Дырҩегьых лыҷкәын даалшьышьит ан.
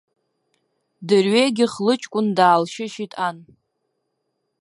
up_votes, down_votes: 1, 2